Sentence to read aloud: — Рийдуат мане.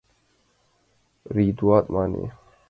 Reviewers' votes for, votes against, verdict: 1, 2, rejected